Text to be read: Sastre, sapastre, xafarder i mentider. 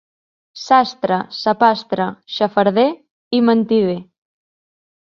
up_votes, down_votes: 2, 0